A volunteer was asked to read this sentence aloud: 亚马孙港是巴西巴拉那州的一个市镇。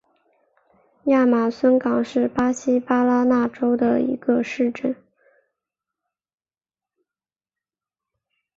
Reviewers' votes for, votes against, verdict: 4, 0, accepted